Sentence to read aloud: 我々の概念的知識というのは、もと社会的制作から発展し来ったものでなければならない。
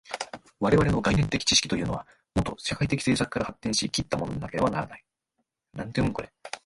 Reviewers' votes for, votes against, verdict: 2, 3, rejected